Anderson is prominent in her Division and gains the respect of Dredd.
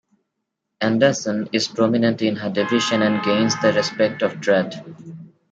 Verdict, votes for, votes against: rejected, 1, 2